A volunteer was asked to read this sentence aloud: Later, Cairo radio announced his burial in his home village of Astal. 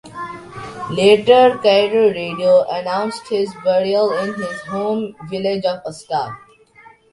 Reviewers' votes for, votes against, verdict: 2, 0, accepted